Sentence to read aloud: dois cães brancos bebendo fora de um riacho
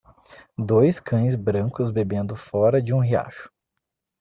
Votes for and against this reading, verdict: 2, 0, accepted